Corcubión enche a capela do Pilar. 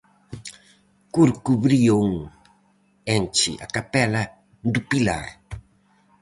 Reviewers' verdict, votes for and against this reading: rejected, 0, 4